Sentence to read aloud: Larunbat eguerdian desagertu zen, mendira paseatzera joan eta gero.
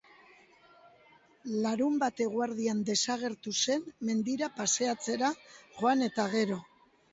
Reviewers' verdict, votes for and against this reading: rejected, 0, 2